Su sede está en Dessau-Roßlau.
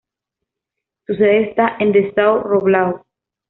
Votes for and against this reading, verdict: 2, 0, accepted